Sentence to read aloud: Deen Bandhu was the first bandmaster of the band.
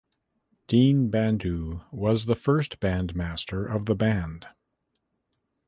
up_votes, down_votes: 2, 0